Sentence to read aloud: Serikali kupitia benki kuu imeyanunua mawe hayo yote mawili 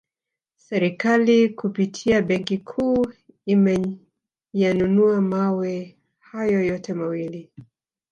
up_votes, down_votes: 2, 0